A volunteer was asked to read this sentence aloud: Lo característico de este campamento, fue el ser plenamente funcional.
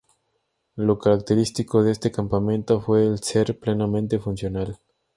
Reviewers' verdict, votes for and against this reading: accepted, 2, 0